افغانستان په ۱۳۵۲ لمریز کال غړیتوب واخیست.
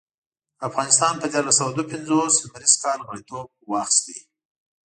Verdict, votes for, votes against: rejected, 0, 2